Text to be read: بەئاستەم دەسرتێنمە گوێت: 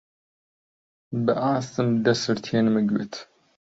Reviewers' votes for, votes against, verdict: 0, 2, rejected